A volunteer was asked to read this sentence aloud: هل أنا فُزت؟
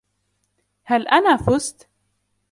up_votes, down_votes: 2, 1